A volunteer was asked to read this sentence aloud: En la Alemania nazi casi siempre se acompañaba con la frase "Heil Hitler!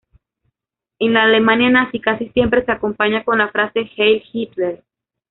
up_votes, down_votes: 1, 2